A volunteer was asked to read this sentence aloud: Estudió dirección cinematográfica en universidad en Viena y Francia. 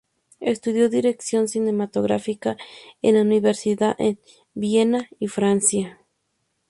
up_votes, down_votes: 0, 2